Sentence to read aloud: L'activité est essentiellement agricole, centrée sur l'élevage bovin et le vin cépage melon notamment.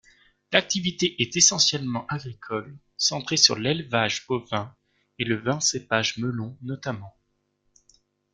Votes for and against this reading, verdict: 2, 0, accepted